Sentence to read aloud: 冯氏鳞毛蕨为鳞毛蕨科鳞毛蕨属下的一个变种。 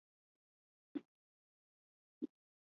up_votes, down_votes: 2, 1